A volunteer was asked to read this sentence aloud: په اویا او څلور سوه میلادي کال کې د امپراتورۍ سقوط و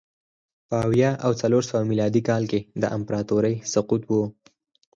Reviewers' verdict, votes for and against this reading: rejected, 0, 4